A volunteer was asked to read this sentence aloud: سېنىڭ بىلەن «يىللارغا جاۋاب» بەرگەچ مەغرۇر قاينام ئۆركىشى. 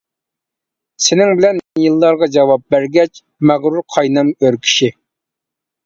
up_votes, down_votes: 2, 0